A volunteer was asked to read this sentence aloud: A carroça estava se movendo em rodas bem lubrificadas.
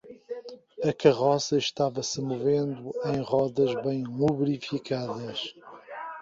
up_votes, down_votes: 1, 2